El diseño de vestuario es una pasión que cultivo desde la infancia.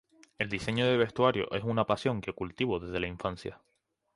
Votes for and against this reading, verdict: 2, 0, accepted